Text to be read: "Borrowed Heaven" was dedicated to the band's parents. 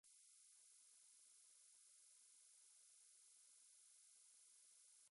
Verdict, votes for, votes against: rejected, 0, 2